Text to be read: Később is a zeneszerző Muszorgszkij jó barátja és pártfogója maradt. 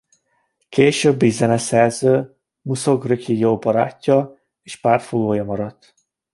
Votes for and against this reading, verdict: 2, 1, accepted